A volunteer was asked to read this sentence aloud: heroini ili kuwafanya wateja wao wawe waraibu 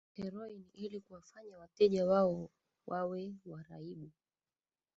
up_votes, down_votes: 0, 3